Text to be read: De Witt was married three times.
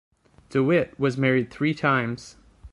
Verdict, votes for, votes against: accepted, 2, 0